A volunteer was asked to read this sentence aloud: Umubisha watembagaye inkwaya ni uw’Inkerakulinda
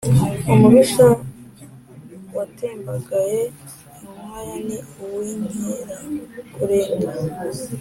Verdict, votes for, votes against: accepted, 2, 0